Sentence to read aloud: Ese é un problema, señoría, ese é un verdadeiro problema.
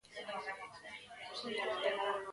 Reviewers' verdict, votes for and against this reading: rejected, 0, 2